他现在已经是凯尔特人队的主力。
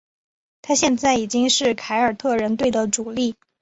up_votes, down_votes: 3, 0